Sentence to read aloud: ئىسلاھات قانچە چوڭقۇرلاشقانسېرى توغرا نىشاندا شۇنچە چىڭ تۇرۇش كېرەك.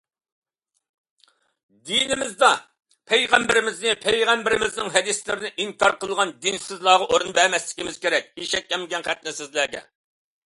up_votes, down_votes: 0, 2